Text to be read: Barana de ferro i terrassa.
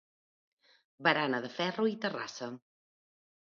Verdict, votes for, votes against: accepted, 2, 0